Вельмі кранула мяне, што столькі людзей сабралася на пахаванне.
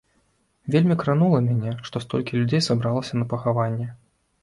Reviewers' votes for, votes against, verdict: 2, 0, accepted